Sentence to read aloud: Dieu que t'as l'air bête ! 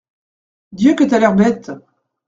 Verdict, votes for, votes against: accepted, 2, 0